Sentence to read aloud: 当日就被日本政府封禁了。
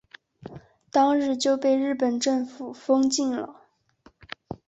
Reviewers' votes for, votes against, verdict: 2, 0, accepted